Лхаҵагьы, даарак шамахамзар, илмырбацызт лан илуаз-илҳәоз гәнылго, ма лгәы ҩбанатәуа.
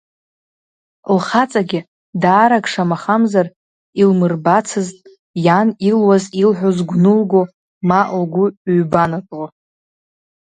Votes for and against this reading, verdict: 1, 2, rejected